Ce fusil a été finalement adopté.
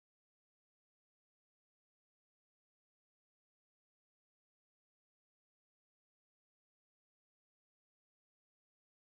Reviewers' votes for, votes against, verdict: 0, 2, rejected